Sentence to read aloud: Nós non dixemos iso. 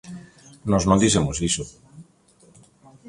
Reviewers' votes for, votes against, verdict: 2, 0, accepted